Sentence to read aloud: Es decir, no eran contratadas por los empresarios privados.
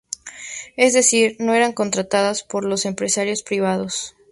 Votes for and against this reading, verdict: 4, 0, accepted